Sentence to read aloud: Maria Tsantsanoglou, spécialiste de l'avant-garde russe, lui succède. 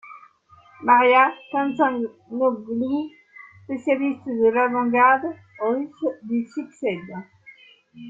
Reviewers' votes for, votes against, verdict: 2, 1, accepted